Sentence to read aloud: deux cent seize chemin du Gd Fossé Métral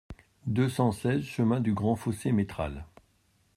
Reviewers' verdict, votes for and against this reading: accepted, 2, 0